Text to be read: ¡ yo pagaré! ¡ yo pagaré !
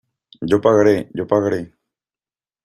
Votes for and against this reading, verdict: 2, 0, accepted